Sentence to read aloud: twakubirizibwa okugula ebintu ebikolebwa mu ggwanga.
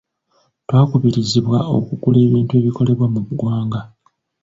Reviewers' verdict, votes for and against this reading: accepted, 2, 0